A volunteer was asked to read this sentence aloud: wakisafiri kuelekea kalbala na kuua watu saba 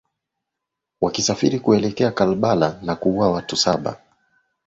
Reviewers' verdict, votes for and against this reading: accepted, 11, 0